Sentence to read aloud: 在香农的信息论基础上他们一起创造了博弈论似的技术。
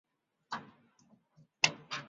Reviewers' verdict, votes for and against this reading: rejected, 0, 2